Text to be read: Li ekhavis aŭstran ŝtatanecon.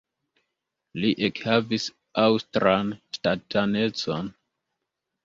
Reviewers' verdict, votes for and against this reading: accepted, 3, 2